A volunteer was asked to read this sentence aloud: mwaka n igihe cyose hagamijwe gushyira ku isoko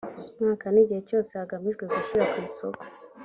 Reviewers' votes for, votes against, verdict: 2, 0, accepted